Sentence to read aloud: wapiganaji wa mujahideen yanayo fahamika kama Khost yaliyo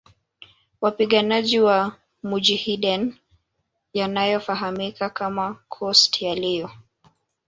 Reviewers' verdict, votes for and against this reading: rejected, 1, 2